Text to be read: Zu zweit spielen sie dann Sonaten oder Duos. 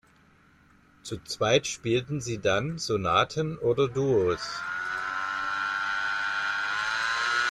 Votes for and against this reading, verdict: 0, 2, rejected